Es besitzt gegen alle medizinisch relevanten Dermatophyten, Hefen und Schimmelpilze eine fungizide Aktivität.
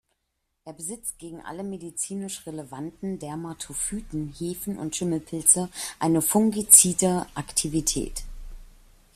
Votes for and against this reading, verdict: 2, 0, accepted